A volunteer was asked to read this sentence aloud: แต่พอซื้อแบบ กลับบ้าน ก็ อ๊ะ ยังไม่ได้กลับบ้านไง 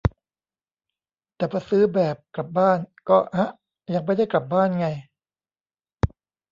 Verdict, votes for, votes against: rejected, 1, 2